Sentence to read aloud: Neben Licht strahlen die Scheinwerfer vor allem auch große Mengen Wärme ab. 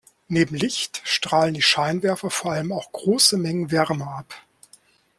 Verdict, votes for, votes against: accepted, 2, 0